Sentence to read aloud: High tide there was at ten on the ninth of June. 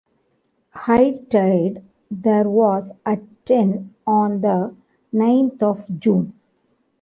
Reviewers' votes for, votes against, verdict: 1, 2, rejected